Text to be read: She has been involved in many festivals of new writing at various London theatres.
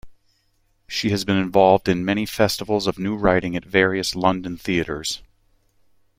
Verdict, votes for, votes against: accepted, 2, 0